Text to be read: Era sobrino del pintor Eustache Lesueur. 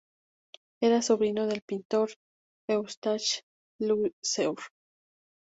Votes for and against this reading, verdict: 0, 2, rejected